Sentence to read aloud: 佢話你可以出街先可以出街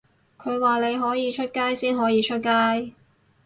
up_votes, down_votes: 4, 0